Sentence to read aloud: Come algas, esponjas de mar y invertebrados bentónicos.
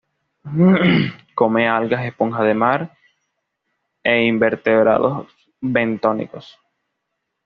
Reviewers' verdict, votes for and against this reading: accepted, 2, 0